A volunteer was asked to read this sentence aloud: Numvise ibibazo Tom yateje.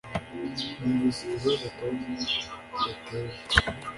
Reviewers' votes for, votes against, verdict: 1, 2, rejected